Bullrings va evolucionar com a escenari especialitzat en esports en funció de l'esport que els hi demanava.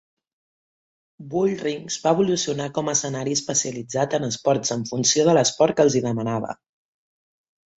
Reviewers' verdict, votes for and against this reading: accepted, 3, 0